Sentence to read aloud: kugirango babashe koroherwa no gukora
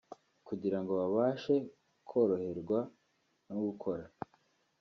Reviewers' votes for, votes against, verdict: 2, 0, accepted